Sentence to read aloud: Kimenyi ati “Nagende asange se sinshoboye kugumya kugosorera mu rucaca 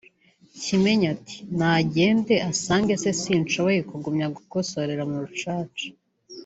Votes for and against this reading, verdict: 3, 0, accepted